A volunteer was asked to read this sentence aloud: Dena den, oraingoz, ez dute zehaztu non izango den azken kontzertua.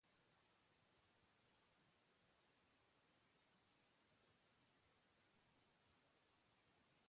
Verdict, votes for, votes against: rejected, 0, 3